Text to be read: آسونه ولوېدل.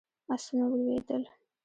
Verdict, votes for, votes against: rejected, 0, 2